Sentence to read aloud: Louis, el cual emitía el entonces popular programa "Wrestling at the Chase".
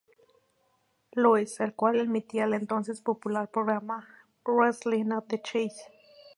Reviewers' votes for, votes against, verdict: 2, 0, accepted